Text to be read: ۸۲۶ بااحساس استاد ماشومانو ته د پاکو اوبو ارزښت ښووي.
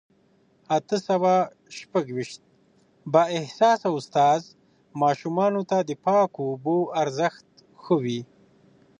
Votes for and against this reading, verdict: 0, 2, rejected